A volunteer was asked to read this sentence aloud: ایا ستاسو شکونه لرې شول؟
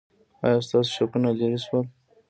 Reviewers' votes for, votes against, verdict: 1, 2, rejected